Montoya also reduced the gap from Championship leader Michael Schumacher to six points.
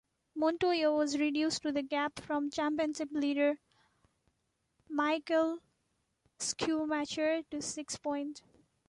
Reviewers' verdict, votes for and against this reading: rejected, 0, 2